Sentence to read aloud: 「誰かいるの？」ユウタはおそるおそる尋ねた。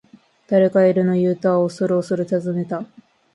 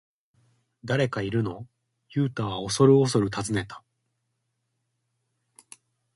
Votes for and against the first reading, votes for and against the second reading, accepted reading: 1, 2, 2, 0, second